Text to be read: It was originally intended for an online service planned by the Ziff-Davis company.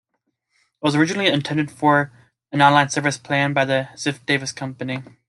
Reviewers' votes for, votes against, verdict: 2, 0, accepted